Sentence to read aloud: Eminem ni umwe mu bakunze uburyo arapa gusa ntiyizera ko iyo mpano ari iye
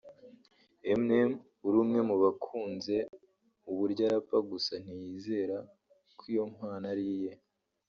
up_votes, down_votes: 1, 2